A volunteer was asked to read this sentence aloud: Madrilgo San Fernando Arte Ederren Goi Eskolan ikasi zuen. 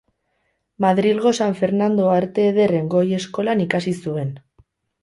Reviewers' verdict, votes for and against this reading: rejected, 0, 2